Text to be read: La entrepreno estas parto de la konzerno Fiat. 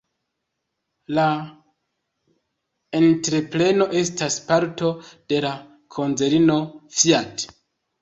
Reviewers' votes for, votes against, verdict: 2, 0, accepted